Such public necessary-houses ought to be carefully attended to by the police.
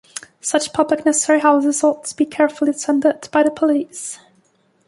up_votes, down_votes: 1, 2